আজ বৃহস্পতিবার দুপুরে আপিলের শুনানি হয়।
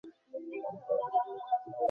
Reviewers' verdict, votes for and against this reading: rejected, 0, 2